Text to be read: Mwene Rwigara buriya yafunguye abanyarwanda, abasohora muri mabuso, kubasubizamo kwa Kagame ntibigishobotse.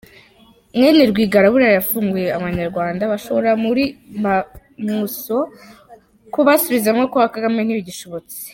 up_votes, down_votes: 0, 3